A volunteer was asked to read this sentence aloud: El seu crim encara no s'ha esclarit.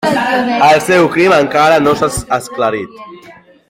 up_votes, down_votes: 1, 2